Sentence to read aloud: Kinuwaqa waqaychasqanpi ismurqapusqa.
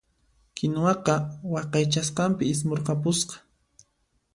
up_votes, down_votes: 2, 0